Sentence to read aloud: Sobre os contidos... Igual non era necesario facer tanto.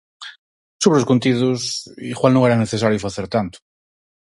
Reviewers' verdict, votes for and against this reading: accepted, 4, 0